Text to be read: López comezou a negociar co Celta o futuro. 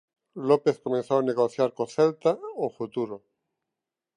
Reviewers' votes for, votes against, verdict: 2, 0, accepted